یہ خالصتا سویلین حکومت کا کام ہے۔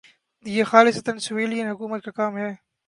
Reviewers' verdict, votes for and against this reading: rejected, 1, 2